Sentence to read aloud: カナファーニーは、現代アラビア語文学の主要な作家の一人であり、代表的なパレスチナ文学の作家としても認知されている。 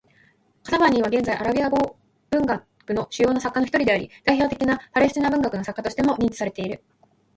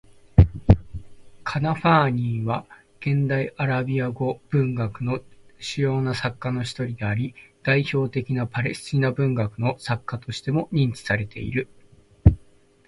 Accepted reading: first